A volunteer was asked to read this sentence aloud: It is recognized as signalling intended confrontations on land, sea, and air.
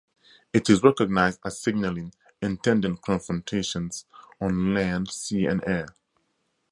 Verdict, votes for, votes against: rejected, 2, 2